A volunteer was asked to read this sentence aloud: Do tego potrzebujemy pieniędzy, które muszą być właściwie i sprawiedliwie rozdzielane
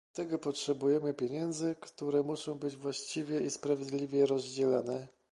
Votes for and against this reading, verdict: 2, 0, accepted